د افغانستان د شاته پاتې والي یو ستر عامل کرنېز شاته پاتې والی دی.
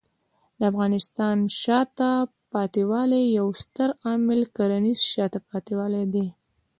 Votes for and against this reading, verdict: 2, 1, accepted